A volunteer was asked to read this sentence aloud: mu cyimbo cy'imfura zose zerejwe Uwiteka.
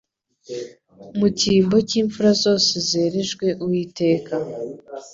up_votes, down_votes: 2, 0